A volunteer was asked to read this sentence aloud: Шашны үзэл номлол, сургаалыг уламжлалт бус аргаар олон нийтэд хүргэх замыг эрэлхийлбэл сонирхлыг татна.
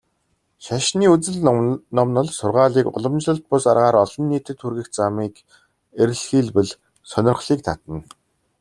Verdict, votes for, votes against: rejected, 1, 2